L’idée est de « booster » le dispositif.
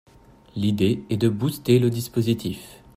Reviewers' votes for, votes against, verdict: 2, 0, accepted